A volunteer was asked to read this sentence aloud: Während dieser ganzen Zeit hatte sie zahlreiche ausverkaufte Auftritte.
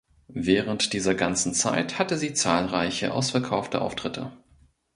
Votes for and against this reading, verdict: 2, 0, accepted